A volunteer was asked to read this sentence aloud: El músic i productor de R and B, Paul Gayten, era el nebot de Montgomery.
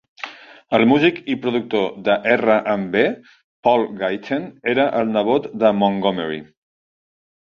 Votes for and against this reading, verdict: 2, 0, accepted